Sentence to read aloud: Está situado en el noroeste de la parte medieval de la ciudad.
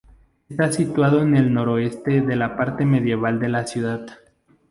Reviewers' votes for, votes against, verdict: 2, 0, accepted